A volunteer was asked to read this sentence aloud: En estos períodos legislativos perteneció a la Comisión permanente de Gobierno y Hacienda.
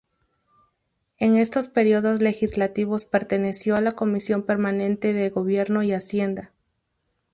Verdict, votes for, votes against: rejected, 0, 2